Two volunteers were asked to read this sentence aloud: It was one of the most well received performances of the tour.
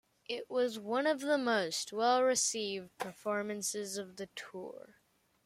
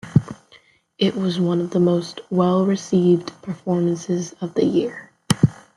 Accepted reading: first